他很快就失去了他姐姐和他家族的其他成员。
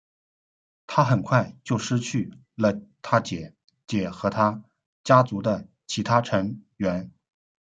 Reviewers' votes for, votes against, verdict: 0, 2, rejected